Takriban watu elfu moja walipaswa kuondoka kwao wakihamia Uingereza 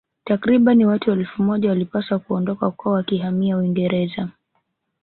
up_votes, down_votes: 0, 2